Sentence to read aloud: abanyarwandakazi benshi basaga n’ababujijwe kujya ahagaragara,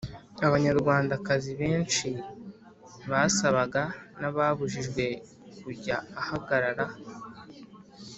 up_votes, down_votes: 1, 2